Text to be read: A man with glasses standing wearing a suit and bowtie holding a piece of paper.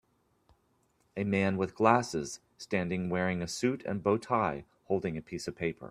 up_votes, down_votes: 2, 0